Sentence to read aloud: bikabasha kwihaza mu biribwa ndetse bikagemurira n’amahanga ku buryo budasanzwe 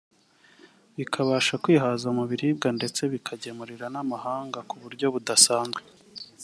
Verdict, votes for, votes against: rejected, 0, 2